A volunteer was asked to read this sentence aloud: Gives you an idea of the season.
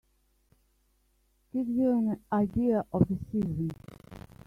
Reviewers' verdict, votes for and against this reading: rejected, 1, 3